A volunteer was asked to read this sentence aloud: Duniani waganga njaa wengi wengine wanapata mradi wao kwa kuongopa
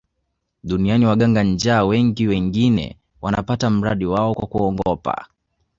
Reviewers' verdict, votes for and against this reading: accepted, 2, 1